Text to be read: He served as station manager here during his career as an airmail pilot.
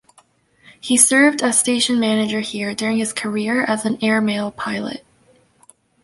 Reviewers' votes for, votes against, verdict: 2, 0, accepted